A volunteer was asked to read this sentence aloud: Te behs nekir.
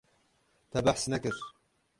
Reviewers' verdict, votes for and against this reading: rejected, 0, 6